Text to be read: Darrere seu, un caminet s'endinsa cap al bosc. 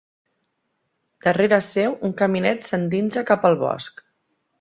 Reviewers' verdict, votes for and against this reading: accepted, 2, 0